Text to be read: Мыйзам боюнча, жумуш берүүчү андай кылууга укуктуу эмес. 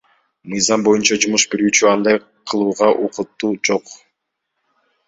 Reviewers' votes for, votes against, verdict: 1, 2, rejected